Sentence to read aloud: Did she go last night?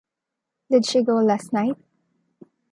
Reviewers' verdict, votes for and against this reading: accepted, 2, 1